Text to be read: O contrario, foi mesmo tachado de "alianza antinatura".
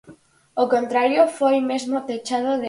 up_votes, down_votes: 0, 4